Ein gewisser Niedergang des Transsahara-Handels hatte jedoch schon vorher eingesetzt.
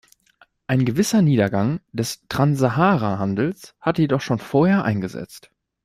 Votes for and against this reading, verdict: 1, 2, rejected